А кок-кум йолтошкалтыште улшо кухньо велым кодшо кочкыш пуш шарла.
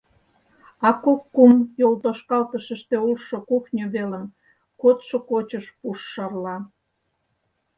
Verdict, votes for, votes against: rejected, 0, 4